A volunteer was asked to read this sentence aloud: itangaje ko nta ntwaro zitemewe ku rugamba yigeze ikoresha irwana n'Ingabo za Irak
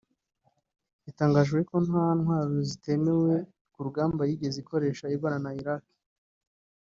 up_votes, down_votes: 2, 3